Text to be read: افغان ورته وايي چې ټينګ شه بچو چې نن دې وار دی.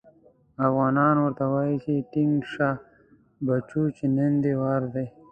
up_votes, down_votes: 0, 2